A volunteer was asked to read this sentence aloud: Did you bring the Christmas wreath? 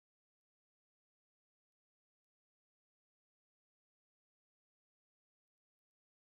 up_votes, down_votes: 0, 3